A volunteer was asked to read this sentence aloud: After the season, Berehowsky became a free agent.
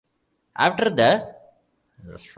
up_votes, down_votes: 0, 2